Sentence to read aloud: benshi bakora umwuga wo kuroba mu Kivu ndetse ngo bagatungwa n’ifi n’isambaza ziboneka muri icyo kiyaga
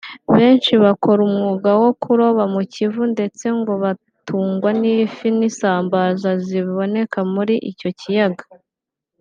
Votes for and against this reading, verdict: 2, 1, accepted